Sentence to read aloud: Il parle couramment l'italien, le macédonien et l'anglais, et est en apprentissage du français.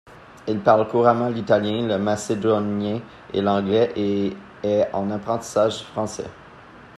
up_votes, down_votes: 1, 2